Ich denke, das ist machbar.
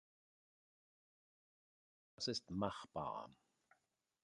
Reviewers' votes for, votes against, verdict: 0, 2, rejected